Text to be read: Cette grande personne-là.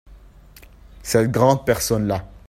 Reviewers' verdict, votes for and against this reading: accepted, 2, 0